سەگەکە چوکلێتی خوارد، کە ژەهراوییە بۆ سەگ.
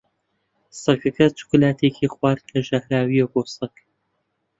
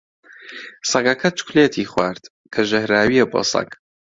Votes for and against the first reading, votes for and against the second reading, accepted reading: 0, 2, 2, 0, second